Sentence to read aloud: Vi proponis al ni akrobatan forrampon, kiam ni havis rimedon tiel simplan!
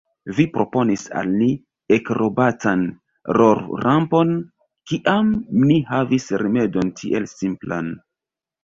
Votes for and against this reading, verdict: 0, 2, rejected